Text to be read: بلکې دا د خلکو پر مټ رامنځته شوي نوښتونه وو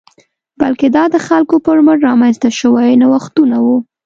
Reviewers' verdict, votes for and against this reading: rejected, 0, 2